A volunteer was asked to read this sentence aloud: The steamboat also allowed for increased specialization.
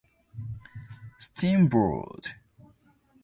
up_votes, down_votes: 0, 2